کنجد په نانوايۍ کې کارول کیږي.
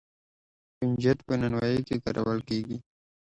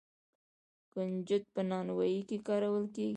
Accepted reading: first